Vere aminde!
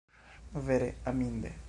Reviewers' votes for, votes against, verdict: 1, 2, rejected